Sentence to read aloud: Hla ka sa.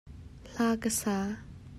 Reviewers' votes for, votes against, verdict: 2, 0, accepted